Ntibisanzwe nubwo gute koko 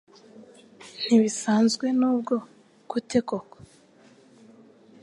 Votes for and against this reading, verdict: 2, 0, accepted